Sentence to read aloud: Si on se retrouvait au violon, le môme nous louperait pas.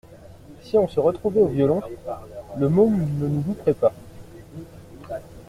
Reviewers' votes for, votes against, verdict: 0, 2, rejected